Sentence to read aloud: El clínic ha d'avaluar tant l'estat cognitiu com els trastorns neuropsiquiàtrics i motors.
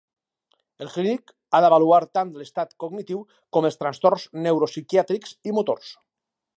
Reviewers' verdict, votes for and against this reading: rejected, 2, 2